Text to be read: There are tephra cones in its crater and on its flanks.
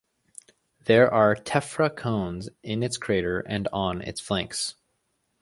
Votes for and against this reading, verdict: 2, 0, accepted